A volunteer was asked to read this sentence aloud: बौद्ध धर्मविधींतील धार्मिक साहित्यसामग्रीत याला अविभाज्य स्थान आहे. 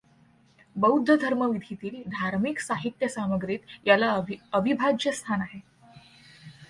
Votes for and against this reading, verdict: 2, 1, accepted